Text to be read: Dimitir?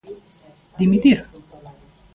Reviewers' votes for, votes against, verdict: 1, 2, rejected